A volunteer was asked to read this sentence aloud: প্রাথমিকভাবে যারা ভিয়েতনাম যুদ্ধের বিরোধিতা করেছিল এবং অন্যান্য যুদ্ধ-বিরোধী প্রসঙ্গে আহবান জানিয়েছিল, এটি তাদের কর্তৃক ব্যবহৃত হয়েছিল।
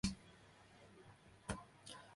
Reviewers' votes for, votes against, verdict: 0, 2, rejected